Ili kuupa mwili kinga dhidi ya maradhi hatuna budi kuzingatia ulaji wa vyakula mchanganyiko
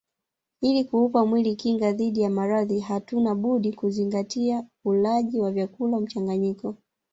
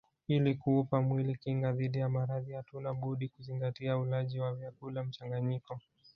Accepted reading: second